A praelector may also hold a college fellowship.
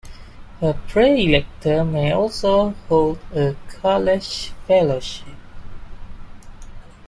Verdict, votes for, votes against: accepted, 2, 1